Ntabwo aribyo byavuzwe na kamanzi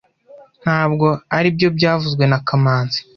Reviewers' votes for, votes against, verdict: 2, 0, accepted